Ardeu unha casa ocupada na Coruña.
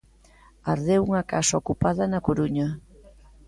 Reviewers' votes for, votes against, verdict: 0, 2, rejected